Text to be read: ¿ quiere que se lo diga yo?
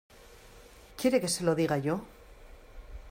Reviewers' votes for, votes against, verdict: 2, 0, accepted